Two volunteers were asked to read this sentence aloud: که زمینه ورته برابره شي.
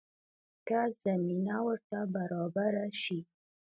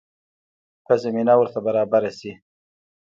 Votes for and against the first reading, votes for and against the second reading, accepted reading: 2, 0, 1, 2, first